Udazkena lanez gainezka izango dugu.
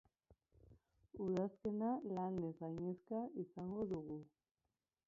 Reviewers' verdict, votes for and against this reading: rejected, 1, 2